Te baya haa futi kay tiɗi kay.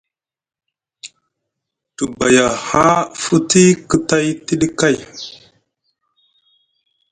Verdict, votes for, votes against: accepted, 2, 1